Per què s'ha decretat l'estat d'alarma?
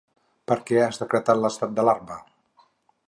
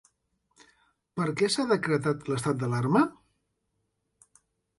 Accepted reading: second